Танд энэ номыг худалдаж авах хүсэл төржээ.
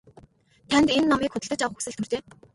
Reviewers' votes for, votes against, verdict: 0, 2, rejected